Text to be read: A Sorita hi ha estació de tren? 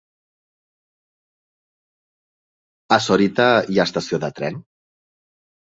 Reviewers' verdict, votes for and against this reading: accepted, 3, 0